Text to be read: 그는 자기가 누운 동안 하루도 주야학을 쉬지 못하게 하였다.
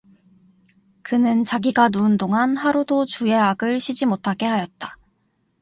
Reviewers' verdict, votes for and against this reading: accepted, 2, 0